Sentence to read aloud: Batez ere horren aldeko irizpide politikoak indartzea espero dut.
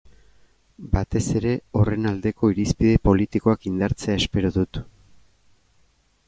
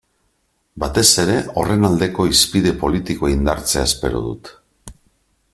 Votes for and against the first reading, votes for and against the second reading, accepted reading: 2, 0, 3, 4, first